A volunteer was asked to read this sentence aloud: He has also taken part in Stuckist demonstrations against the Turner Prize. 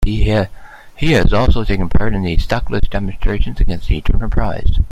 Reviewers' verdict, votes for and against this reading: rejected, 1, 2